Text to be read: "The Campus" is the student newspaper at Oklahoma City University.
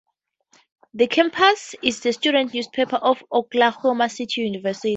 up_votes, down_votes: 2, 0